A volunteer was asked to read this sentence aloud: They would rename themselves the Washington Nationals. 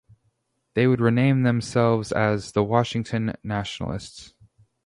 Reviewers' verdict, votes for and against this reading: rejected, 2, 2